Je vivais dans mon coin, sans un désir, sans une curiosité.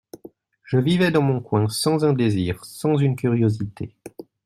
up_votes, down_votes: 2, 0